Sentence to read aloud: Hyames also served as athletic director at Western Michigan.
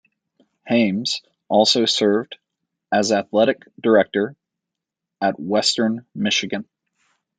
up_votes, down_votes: 2, 0